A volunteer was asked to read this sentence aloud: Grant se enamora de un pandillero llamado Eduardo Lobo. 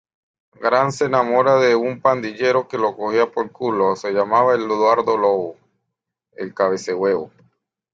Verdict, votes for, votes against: rejected, 0, 2